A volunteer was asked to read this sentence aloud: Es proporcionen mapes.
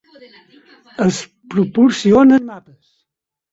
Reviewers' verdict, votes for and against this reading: rejected, 0, 6